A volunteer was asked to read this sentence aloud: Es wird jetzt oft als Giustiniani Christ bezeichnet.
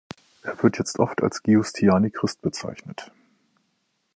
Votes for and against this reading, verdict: 1, 3, rejected